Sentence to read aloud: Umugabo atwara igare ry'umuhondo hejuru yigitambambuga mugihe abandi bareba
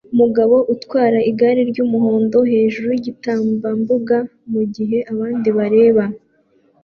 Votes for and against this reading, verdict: 1, 2, rejected